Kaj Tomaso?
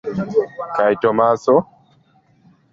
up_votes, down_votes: 2, 0